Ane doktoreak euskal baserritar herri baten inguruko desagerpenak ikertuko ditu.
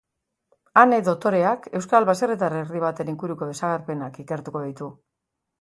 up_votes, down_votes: 2, 1